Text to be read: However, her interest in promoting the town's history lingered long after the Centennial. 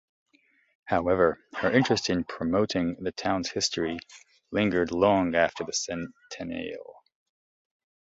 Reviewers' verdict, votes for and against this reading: rejected, 1, 2